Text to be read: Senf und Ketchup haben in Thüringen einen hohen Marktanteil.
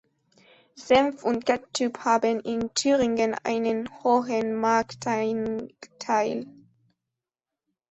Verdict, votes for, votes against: rejected, 1, 2